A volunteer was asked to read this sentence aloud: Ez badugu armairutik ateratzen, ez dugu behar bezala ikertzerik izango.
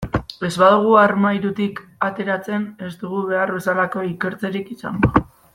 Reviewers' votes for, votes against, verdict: 0, 2, rejected